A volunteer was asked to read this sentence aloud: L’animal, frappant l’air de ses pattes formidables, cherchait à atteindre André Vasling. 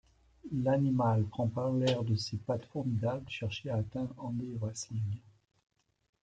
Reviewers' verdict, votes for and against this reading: accepted, 2, 1